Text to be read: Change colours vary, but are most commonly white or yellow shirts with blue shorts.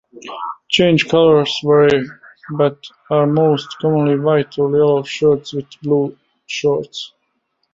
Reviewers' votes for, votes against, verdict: 2, 0, accepted